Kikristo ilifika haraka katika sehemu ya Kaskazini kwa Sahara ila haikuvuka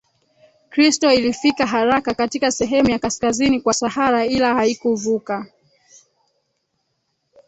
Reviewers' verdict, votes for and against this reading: rejected, 2, 3